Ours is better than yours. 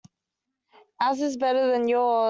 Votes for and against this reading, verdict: 2, 1, accepted